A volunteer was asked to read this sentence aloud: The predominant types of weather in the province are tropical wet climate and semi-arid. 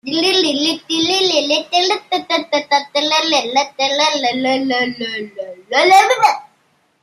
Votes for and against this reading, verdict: 0, 2, rejected